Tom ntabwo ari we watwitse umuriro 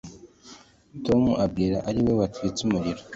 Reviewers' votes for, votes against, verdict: 2, 0, accepted